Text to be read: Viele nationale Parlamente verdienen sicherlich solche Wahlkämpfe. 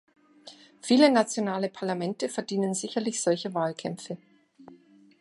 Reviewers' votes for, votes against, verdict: 2, 0, accepted